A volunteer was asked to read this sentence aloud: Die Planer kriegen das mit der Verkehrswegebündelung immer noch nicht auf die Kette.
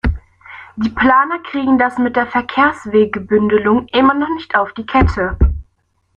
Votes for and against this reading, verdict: 1, 2, rejected